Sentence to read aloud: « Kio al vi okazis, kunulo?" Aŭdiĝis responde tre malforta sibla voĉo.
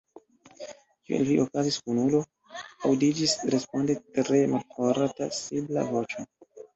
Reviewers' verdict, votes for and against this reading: rejected, 1, 2